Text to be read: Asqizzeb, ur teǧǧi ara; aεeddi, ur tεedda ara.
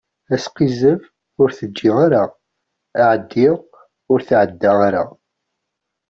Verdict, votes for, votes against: accepted, 2, 0